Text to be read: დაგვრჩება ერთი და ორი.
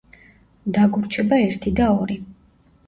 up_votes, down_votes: 2, 0